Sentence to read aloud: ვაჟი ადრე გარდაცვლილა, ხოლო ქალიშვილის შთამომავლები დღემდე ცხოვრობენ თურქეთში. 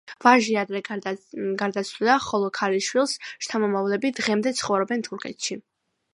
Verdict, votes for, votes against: rejected, 0, 2